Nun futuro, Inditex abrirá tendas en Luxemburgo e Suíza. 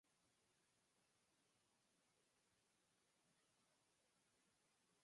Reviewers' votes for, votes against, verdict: 0, 4, rejected